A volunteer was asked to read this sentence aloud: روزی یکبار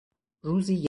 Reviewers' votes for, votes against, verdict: 0, 4, rejected